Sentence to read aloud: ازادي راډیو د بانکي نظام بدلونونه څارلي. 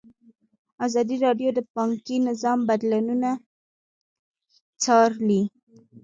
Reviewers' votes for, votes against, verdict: 1, 2, rejected